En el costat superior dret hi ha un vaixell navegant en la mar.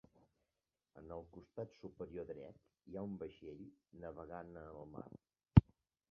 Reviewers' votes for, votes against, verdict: 1, 3, rejected